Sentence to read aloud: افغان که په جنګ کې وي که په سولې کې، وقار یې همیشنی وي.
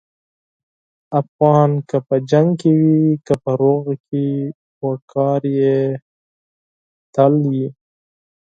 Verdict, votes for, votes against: rejected, 0, 4